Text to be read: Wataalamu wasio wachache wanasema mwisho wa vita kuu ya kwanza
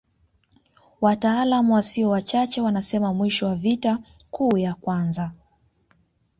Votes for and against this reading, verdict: 2, 0, accepted